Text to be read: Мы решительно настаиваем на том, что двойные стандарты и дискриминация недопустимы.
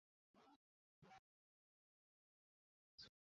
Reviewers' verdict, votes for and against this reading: rejected, 0, 2